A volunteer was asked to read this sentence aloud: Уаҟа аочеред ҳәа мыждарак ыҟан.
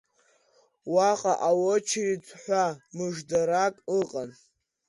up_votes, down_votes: 2, 0